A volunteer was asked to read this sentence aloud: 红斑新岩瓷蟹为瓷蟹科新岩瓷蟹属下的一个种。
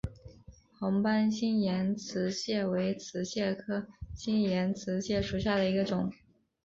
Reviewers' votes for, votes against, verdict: 5, 0, accepted